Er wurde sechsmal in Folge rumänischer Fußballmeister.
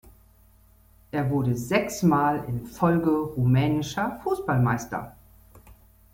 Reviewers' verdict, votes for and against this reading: accepted, 2, 0